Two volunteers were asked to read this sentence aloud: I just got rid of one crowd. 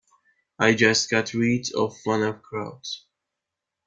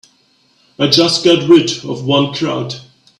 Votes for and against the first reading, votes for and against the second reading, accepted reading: 0, 2, 2, 1, second